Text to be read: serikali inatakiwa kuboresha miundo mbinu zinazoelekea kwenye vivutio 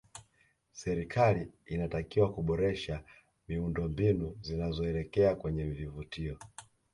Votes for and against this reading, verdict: 2, 0, accepted